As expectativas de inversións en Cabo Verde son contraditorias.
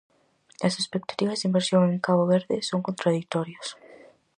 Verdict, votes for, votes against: rejected, 2, 2